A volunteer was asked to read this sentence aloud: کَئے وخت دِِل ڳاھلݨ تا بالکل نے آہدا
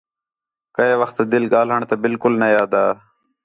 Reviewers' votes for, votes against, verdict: 4, 0, accepted